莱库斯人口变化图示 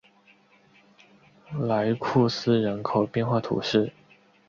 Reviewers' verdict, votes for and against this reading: accepted, 2, 1